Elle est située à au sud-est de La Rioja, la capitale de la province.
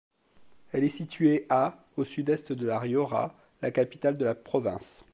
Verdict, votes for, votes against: accepted, 2, 0